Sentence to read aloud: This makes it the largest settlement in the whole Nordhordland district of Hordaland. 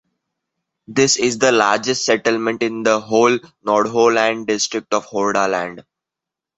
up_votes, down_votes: 0, 2